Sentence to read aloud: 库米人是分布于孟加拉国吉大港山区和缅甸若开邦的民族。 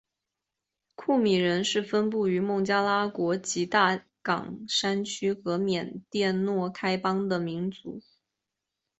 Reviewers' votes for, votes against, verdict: 2, 0, accepted